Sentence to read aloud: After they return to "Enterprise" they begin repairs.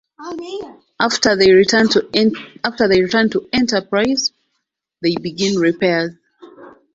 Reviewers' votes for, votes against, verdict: 2, 0, accepted